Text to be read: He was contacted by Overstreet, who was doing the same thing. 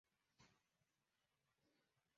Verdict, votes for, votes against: rejected, 0, 2